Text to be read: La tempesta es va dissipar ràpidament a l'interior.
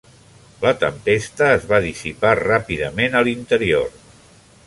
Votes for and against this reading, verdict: 3, 0, accepted